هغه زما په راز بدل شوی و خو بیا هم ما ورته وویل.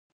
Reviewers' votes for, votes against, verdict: 1, 2, rejected